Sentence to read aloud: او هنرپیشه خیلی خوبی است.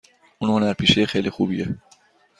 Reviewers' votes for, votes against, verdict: 1, 2, rejected